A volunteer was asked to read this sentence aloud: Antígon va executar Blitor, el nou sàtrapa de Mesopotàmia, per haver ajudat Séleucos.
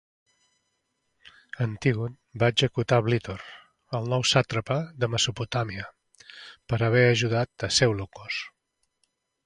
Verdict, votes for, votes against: rejected, 1, 2